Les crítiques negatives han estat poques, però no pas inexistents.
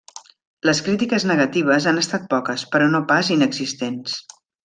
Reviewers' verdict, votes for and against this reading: accepted, 3, 0